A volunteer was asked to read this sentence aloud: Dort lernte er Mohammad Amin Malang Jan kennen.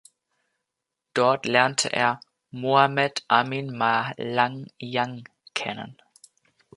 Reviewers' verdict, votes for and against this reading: rejected, 0, 2